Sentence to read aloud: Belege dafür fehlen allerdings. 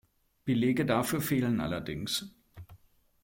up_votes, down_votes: 2, 0